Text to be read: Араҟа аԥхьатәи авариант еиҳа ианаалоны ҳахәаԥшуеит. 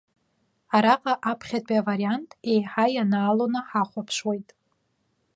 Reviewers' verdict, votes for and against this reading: accepted, 2, 0